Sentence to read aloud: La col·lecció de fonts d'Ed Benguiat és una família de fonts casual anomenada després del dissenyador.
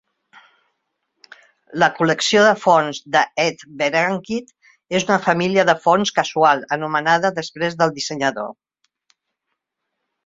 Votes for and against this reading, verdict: 1, 3, rejected